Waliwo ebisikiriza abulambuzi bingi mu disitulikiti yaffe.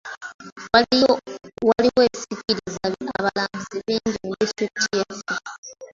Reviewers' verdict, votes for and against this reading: rejected, 0, 2